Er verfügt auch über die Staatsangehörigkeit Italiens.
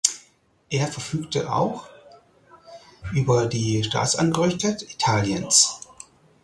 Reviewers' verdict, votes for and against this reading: rejected, 0, 4